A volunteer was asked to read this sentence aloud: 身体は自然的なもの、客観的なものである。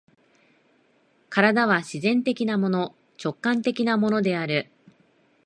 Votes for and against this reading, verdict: 0, 2, rejected